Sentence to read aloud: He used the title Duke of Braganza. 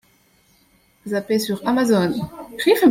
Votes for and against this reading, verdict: 0, 2, rejected